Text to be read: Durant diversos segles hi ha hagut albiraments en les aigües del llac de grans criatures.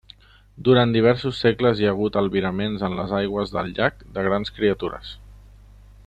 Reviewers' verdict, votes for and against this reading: accepted, 3, 0